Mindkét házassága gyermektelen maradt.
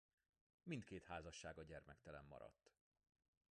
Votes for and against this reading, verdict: 2, 1, accepted